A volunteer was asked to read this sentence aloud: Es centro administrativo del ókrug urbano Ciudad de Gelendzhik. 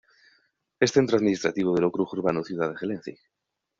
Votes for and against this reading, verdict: 0, 2, rejected